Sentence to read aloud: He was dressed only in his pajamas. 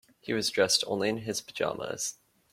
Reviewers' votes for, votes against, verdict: 2, 0, accepted